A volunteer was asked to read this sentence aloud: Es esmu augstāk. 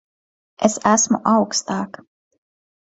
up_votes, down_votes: 2, 0